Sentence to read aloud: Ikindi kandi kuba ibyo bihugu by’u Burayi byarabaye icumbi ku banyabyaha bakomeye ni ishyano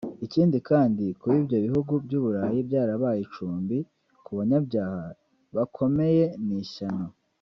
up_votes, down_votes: 3, 0